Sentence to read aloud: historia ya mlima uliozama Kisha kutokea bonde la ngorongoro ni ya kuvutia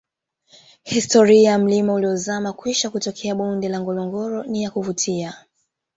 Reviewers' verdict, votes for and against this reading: rejected, 1, 2